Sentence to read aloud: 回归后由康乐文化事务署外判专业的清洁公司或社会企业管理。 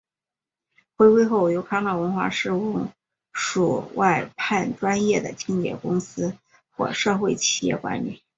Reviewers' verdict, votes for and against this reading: accepted, 5, 1